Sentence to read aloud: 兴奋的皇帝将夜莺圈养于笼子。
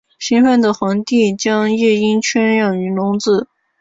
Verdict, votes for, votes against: accepted, 2, 0